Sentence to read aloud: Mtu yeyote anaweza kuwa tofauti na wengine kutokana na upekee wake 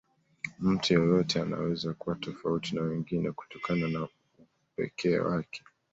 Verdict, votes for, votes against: accepted, 2, 0